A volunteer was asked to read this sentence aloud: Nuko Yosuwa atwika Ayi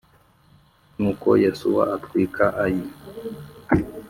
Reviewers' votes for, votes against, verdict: 3, 0, accepted